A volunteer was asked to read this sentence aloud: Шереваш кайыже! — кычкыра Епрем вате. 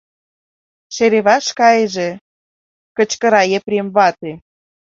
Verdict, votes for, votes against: accepted, 2, 1